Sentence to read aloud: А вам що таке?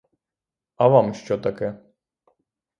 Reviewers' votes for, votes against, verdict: 3, 0, accepted